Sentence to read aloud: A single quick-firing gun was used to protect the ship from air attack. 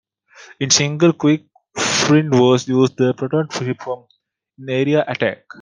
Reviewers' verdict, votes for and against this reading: rejected, 0, 2